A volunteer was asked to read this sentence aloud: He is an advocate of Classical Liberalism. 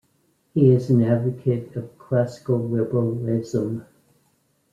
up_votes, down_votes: 1, 2